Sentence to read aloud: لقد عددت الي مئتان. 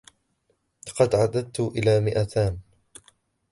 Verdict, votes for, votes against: accepted, 2, 0